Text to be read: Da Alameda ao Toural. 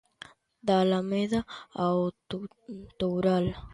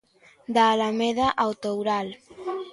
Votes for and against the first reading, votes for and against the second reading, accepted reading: 0, 2, 2, 0, second